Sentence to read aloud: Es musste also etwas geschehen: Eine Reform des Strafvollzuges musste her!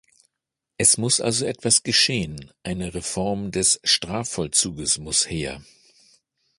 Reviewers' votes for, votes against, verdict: 0, 2, rejected